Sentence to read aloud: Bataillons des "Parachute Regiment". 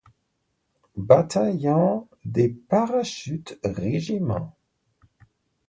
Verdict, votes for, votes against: rejected, 1, 2